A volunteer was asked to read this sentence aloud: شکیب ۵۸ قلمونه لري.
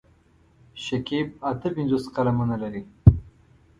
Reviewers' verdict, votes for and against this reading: rejected, 0, 2